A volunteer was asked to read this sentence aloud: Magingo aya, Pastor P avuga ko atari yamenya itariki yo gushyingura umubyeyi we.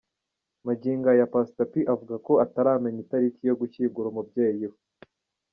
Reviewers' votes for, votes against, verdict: 2, 0, accepted